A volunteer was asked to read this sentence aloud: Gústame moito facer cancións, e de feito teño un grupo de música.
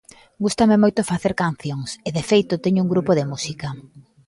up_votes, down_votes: 1, 2